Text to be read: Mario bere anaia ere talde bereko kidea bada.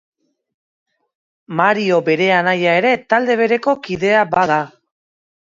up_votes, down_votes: 2, 0